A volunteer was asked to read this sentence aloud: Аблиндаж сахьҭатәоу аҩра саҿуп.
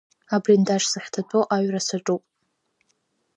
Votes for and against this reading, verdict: 1, 2, rejected